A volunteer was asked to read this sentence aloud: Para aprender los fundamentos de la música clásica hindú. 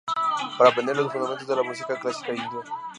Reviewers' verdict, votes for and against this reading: rejected, 0, 2